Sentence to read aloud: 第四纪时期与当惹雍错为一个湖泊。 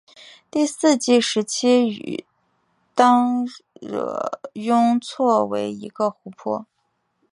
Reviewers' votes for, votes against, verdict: 5, 1, accepted